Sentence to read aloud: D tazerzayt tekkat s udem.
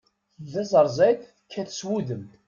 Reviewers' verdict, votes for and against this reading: rejected, 1, 2